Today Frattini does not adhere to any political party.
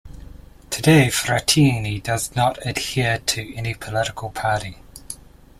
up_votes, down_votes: 2, 0